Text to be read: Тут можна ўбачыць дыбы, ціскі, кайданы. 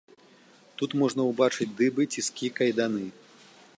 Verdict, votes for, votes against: accepted, 2, 0